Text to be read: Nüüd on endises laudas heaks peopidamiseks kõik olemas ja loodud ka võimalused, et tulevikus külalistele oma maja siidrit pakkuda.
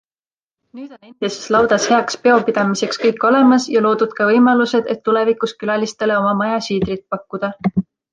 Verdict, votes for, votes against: rejected, 1, 2